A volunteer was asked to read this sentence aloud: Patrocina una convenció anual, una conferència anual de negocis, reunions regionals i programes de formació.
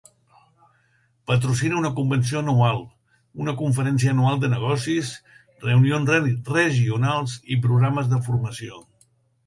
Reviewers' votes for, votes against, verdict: 1, 2, rejected